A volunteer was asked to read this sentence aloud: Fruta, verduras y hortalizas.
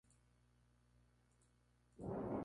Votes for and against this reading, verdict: 0, 2, rejected